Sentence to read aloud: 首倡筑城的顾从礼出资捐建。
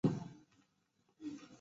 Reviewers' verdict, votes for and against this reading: rejected, 0, 2